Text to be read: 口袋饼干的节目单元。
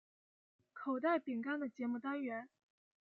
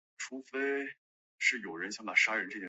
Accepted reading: first